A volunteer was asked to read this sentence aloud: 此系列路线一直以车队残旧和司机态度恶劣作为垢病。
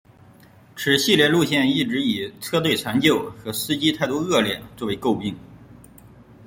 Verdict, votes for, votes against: accepted, 2, 0